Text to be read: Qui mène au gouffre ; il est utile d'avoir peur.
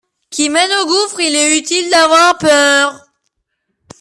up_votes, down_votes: 2, 0